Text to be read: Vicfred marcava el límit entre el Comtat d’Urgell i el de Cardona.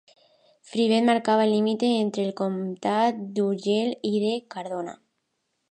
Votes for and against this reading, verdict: 0, 2, rejected